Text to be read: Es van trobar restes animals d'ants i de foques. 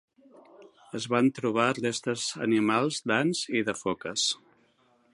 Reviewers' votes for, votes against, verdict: 2, 0, accepted